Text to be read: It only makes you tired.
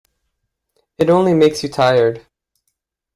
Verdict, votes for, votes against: accepted, 2, 0